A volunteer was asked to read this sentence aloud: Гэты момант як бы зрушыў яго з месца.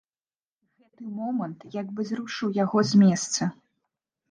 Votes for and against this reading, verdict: 0, 2, rejected